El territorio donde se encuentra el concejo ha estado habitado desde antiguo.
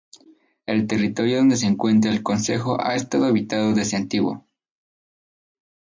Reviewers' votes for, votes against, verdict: 2, 0, accepted